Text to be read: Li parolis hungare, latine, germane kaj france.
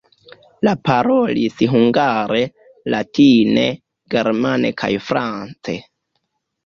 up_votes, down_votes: 0, 2